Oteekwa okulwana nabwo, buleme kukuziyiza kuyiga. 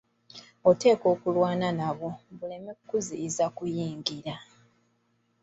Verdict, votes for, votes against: rejected, 0, 2